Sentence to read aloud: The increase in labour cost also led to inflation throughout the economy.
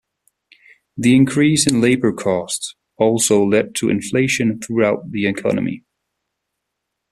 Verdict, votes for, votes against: rejected, 1, 2